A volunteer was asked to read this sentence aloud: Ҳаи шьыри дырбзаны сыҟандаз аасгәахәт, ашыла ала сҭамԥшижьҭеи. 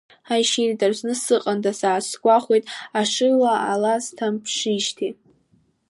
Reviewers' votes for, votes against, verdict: 0, 2, rejected